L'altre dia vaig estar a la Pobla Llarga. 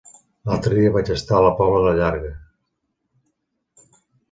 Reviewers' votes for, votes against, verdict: 0, 2, rejected